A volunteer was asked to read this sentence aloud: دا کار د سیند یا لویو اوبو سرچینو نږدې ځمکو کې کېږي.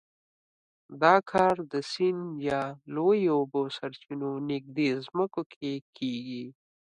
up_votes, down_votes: 2, 0